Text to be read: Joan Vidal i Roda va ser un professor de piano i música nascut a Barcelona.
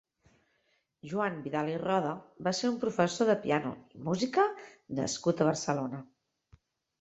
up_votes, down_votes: 4, 0